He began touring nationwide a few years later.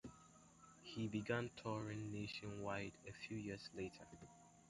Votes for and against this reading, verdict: 2, 0, accepted